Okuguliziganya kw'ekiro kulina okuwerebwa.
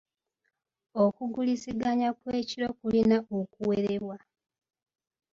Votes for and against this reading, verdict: 2, 0, accepted